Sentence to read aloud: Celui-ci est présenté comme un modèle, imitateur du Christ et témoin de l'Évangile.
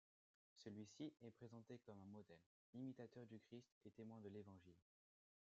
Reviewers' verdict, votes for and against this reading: rejected, 0, 2